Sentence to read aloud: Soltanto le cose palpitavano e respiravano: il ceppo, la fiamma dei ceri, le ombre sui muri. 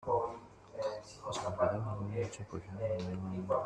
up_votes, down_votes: 0, 2